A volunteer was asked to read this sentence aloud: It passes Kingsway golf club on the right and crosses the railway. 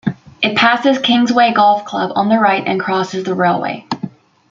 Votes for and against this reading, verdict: 1, 2, rejected